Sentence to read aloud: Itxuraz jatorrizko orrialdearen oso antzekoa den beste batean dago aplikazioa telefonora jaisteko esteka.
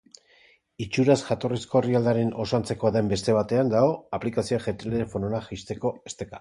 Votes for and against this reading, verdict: 1, 4, rejected